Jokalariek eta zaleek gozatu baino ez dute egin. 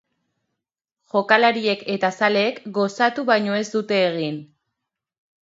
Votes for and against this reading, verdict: 2, 0, accepted